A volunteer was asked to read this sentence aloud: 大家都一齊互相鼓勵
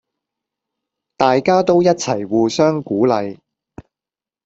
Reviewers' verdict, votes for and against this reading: accepted, 2, 0